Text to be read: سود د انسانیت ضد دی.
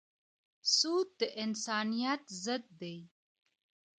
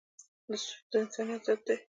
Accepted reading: second